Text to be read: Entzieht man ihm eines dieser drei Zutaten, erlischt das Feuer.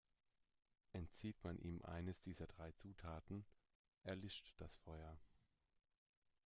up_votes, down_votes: 2, 0